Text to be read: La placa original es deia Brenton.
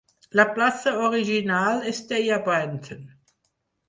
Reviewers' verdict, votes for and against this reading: rejected, 2, 4